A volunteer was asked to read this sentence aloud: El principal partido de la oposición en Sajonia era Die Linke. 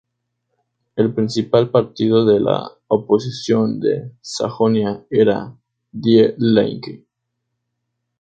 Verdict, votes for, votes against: rejected, 0, 2